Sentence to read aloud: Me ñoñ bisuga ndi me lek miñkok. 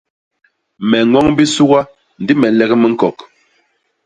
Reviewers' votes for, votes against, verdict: 2, 0, accepted